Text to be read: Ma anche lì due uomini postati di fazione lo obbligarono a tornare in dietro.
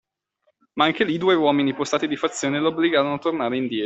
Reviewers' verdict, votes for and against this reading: rejected, 0, 2